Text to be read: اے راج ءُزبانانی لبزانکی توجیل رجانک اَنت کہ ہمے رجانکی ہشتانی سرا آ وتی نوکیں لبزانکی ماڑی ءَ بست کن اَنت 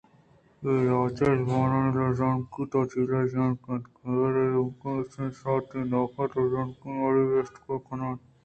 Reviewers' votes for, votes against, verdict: 2, 0, accepted